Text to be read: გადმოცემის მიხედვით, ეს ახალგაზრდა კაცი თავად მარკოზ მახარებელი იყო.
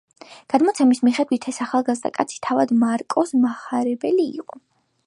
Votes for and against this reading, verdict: 2, 0, accepted